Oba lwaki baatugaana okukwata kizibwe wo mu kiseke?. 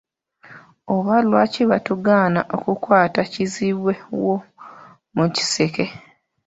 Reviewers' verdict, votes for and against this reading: rejected, 1, 2